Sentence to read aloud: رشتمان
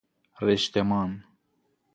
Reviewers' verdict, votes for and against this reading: accepted, 2, 0